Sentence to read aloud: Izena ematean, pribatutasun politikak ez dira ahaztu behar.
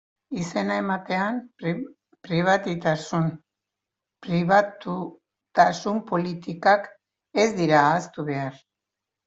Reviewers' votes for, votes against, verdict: 0, 2, rejected